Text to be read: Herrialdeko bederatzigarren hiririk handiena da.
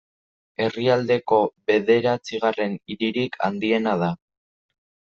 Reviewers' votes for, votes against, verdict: 1, 2, rejected